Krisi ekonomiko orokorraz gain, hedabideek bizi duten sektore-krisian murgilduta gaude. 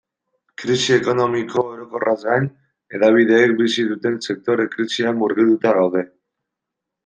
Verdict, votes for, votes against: accepted, 2, 1